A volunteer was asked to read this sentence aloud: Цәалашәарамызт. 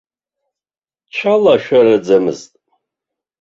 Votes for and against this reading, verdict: 0, 2, rejected